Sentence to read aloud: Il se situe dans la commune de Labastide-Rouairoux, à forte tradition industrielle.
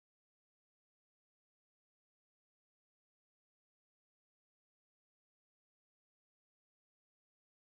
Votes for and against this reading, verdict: 0, 2, rejected